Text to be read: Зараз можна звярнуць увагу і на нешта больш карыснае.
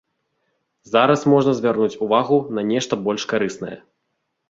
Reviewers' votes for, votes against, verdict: 1, 2, rejected